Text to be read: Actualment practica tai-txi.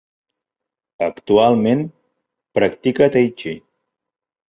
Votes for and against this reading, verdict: 2, 0, accepted